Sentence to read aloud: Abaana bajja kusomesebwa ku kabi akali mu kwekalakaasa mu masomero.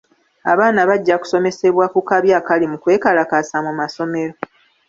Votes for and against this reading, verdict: 2, 0, accepted